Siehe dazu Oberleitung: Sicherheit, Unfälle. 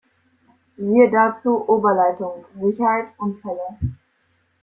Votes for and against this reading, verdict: 2, 0, accepted